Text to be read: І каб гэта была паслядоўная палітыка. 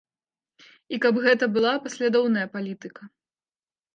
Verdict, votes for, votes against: accepted, 2, 0